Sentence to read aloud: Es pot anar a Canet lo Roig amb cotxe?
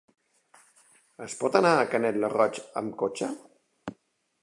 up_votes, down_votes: 2, 0